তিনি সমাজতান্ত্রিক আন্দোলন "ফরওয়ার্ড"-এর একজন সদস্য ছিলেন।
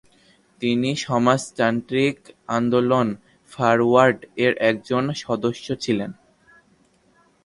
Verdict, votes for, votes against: rejected, 0, 2